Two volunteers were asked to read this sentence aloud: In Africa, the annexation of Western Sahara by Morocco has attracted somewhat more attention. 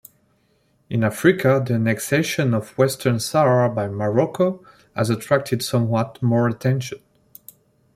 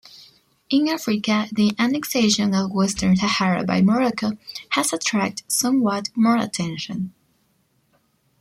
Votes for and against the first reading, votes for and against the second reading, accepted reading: 1, 2, 2, 0, second